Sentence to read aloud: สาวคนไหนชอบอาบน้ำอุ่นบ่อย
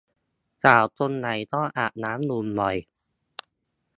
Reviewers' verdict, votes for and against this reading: rejected, 0, 2